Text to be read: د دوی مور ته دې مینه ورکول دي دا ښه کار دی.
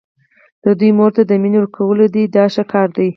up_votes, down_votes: 2, 4